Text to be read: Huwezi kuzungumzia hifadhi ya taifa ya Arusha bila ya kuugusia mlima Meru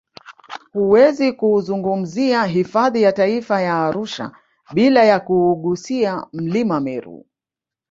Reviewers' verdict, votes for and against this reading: rejected, 1, 2